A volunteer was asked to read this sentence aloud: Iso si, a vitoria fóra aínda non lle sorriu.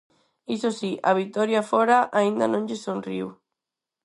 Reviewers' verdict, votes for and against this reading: rejected, 2, 4